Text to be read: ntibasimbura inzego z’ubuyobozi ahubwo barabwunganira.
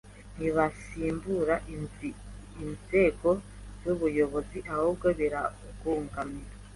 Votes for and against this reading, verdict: 1, 2, rejected